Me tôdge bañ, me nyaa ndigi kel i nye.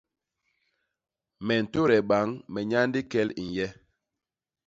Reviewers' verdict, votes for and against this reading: rejected, 0, 2